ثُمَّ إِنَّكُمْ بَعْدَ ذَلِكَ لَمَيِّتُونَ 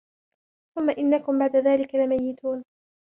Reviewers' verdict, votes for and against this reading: accepted, 2, 0